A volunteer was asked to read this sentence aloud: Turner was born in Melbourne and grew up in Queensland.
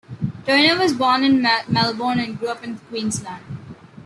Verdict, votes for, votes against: rejected, 1, 2